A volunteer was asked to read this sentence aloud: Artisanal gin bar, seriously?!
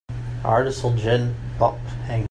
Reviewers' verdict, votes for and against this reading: rejected, 0, 2